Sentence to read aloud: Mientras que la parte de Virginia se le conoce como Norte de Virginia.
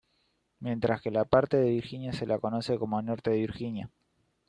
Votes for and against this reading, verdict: 1, 2, rejected